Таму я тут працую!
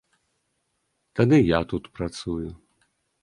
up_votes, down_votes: 0, 2